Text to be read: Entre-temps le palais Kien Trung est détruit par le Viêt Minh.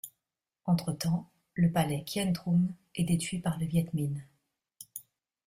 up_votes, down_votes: 0, 2